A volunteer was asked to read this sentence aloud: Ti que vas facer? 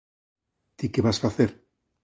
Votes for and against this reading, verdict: 2, 0, accepted